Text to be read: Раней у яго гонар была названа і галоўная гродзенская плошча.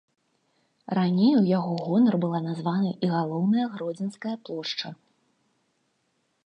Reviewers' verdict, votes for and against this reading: accepted, 2, 0